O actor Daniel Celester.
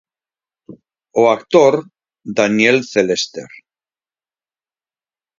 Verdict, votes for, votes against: accepted, 4, 0